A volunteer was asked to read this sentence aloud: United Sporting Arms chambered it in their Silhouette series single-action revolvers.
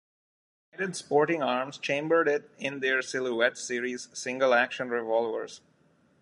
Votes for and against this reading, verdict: 1, 2, rejected